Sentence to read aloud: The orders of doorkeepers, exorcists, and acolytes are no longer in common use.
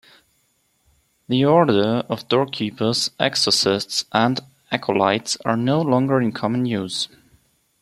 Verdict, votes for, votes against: rejected, 0, 2